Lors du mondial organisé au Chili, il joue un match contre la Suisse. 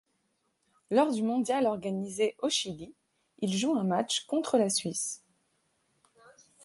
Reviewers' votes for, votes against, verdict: 2, 0, accepted